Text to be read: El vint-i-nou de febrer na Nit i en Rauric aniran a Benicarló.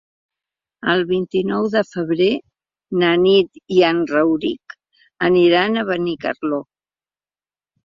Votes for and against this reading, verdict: 3, 0, accepted